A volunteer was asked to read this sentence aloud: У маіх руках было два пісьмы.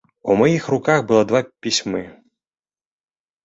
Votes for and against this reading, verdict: 2, 0, accepted